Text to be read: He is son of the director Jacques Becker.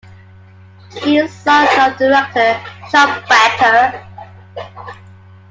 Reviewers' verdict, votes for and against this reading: accepted, 2, 0